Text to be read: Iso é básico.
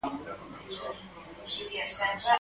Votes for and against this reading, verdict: 2, 4, rejected